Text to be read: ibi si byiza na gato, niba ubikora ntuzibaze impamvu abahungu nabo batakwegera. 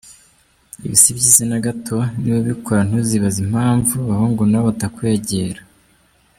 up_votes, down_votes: 0, 2